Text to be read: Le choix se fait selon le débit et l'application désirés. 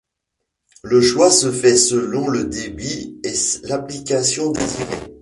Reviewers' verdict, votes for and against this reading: rejected, 0, 2